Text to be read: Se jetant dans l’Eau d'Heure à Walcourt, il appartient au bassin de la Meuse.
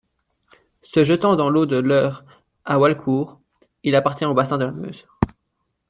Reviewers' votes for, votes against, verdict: 0, 2, rejected